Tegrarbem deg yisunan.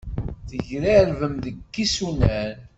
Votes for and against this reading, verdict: 2, 0, accepted